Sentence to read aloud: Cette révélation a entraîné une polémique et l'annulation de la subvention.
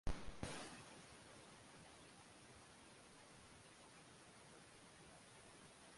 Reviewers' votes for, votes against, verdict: 0, 2, rejected